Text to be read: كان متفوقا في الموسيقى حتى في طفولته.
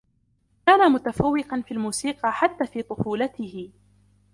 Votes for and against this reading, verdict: 2, 0, accepted